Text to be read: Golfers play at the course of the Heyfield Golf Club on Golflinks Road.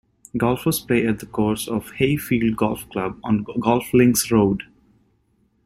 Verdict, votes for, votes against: rejected, 1, 2